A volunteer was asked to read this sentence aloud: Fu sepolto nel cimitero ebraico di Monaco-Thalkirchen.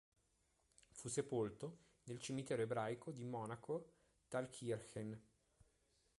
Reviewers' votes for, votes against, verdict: 1, 2, rejected